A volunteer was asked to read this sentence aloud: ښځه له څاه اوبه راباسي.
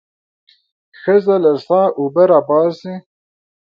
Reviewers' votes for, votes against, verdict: 2, 0, accepted